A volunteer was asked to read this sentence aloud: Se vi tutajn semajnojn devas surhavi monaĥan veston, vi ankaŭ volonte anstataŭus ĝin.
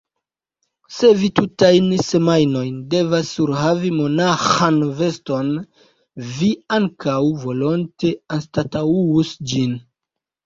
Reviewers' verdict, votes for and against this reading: rejected, 1, 2